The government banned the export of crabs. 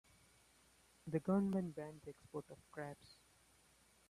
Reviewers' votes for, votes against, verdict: 1, 2, rejected